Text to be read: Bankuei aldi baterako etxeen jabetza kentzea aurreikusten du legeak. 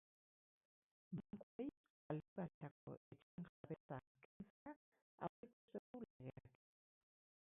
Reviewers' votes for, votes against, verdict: 2, 4, rejected